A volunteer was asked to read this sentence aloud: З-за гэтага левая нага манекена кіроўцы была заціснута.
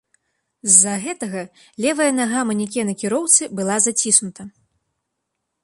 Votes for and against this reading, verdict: 2, 0, accepted